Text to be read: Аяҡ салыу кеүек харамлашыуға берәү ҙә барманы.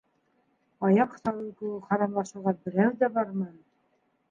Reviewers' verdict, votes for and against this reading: rejected, 1, 2